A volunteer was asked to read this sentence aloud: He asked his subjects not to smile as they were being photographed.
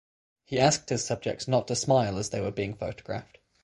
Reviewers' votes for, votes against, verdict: 6, 0, accepted